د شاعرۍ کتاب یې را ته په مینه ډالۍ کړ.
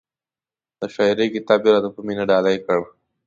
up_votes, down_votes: 2, 0